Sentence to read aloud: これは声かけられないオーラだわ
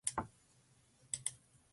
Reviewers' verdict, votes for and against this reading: rejected, 0, 2